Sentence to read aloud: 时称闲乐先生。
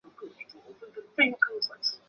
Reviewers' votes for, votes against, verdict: 0, 2, rejected